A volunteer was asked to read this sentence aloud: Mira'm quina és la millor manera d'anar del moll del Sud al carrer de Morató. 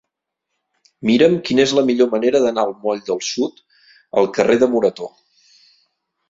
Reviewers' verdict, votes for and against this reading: rejected, 0, 2